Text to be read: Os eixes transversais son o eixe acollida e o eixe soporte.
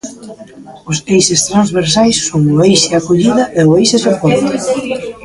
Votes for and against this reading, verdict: 2, 1, accepted